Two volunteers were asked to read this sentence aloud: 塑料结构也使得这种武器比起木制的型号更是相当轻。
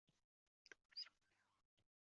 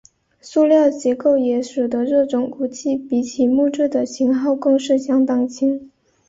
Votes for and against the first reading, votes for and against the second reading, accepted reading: 1, 3, 2, 0, second